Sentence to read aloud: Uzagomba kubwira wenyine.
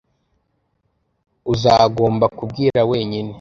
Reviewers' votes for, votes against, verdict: 2, 0, accepted